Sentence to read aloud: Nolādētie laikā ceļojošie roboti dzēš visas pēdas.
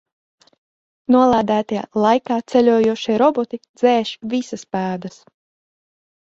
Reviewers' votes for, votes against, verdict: 0, 4, rejected